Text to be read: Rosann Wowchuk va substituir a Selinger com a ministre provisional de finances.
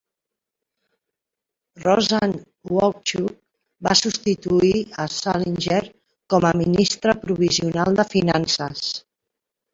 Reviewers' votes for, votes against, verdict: 0, 2, rejected